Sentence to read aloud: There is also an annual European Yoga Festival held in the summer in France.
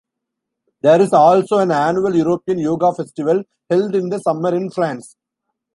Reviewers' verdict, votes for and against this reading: accepted, 2, 0